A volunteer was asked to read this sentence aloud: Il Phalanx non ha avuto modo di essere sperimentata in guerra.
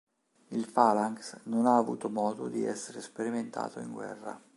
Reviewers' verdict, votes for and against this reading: rejected, 1, 2